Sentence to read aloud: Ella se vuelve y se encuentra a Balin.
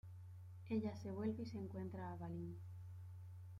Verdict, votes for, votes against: accepted, 2, 0